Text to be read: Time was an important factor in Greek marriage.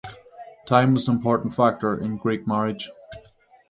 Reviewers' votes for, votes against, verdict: 0, 6, rejected